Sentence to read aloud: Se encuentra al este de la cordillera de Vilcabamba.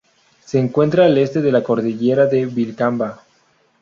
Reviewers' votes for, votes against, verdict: 0, 2, rejected